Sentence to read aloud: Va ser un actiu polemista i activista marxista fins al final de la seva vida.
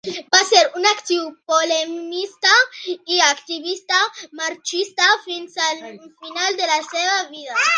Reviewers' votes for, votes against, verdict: 2, 1, accepted